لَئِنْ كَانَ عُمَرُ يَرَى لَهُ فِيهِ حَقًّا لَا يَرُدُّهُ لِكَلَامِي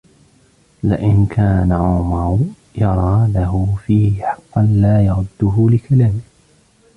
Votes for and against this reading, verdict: 0, 2, rejected